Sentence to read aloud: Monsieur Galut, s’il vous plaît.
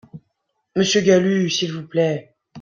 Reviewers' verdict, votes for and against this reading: accepted, 2, 0